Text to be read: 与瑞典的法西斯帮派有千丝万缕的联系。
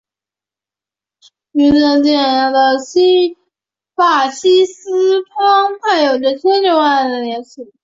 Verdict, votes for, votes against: rejected, 0, 2